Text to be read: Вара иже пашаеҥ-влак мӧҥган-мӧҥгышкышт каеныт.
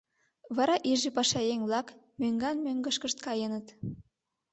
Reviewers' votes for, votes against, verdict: 2, 0, accepted